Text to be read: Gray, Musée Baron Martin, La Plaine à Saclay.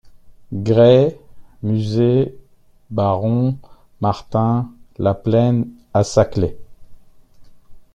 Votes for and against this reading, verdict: 1, 2, rejected